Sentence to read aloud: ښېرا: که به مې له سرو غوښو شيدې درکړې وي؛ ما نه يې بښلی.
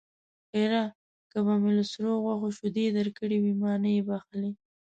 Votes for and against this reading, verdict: 1, 2, rejected